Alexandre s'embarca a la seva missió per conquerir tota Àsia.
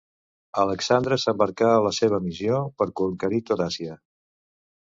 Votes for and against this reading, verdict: 1, 2, rejected